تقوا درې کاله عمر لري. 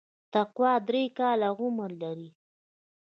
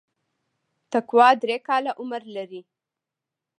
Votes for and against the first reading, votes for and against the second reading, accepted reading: 2, 0, 0, 2, first